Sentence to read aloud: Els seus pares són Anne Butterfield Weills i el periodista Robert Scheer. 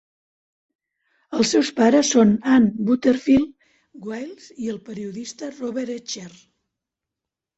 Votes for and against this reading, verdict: 1, 2, rejected